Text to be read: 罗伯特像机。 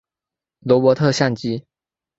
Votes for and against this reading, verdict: 1, 2, rejected